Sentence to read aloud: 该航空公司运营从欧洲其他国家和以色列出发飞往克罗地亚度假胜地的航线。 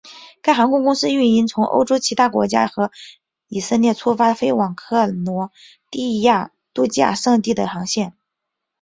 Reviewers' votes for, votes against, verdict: 2, 0, accepted